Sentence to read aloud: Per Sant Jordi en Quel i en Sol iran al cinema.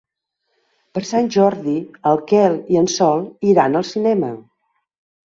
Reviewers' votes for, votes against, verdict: 1, 2, rejected